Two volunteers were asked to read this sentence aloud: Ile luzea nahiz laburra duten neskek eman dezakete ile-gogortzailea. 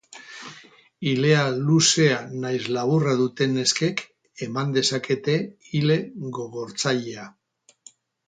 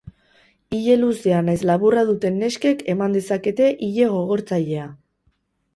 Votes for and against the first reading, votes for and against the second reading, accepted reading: 2, 2, 2, 0, second